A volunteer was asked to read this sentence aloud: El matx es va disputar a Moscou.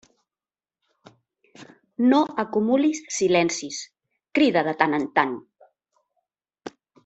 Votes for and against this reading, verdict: 0, 2, rejected